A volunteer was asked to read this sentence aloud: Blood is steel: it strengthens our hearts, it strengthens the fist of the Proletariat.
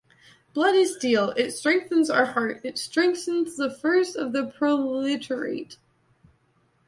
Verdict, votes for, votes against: rejected, 1, 2